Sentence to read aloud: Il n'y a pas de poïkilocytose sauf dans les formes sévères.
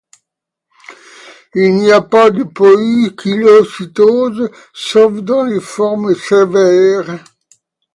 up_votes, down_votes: 2, 1